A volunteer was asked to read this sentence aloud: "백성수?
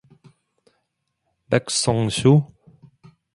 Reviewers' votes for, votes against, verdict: 2, 0, accepted